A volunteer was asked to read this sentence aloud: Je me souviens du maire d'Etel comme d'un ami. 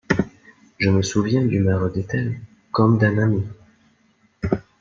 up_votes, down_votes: 2, 0